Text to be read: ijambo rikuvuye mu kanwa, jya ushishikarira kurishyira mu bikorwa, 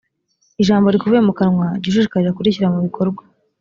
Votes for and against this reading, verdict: 2, 0, accepted